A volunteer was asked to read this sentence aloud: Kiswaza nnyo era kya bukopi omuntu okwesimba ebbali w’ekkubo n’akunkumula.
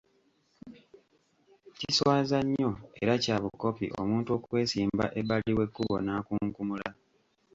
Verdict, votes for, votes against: rejected, 1, 2